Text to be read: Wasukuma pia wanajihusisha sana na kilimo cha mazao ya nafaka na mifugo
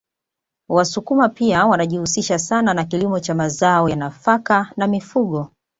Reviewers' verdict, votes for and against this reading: accepted, 2, 0